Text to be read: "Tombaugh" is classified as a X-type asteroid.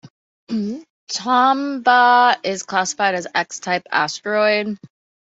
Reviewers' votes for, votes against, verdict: 1, 2, rejected